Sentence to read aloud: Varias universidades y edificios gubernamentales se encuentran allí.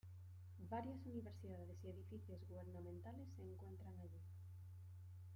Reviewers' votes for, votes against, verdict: 2, 1, accepted